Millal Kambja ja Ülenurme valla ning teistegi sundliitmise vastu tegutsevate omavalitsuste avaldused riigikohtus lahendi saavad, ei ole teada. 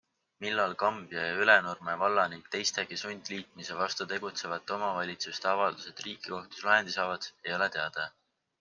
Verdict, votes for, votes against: accepted, 4, 0